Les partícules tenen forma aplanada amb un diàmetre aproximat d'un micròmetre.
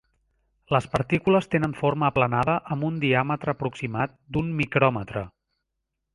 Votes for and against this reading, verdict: 3, 0, accepted